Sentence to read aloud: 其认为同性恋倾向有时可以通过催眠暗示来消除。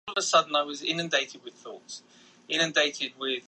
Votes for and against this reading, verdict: 0, 3, rejected